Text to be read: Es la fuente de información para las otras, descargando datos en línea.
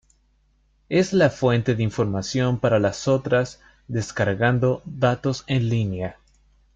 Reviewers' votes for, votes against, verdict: 2, 1, accepted